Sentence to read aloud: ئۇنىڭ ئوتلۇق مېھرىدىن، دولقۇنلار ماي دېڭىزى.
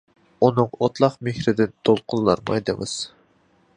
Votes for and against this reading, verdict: 0, 2, rejected